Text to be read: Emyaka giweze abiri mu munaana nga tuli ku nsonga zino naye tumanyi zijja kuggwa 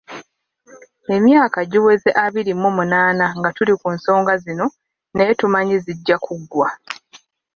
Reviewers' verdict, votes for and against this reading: accepted, 2, 0